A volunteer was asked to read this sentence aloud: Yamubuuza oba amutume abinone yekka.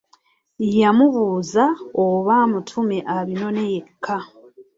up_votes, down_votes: 3, 0